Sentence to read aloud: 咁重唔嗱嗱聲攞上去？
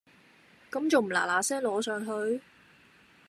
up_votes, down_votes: 2, 0